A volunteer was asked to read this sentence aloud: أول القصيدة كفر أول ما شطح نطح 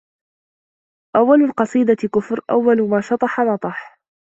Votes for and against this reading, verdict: 2, 0, accepted